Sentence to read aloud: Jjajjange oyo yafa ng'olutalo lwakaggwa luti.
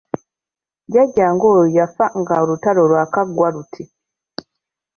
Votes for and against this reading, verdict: 2, 1, accepted